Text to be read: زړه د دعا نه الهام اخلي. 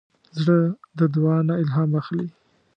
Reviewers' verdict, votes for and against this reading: accepted, 2, 0